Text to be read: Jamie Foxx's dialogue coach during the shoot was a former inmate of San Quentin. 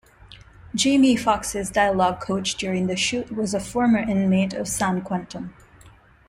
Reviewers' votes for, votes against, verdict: 2, 0, accepted